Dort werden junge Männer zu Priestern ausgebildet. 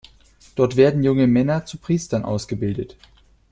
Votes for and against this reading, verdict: 2, 0, accepted